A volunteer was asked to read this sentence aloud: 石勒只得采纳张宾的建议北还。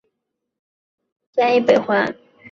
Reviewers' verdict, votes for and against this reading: rejected, 1, 2